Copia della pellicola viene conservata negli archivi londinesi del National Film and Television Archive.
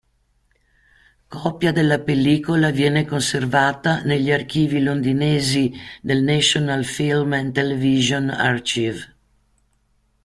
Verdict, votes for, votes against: rejected, 0, 2